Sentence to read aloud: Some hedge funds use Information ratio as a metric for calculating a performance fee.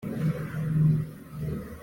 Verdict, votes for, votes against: rejected, 0, 2